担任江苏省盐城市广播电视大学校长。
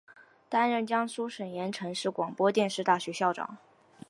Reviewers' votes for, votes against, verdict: 4, 1, accepted